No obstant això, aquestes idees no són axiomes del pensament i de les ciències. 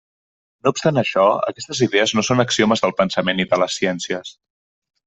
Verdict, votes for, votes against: accepted, 2, 0